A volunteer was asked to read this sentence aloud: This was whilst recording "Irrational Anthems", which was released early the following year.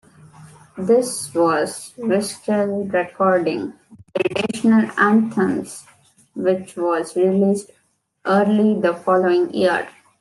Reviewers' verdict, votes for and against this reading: rejected, 1, 2